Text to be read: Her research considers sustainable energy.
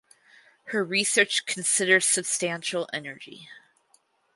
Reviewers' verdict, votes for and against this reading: accepted, 4, 2